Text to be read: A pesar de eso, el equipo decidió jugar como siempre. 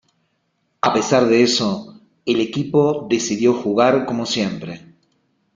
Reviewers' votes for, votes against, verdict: 2, 0, accepted